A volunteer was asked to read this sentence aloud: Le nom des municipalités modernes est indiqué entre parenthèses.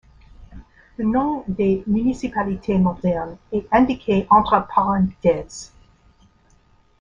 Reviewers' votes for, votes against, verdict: 2, 1, accepted